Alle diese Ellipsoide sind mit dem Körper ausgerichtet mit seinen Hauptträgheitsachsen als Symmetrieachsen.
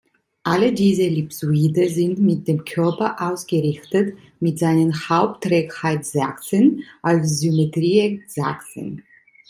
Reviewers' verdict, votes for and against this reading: rejected, 1, 2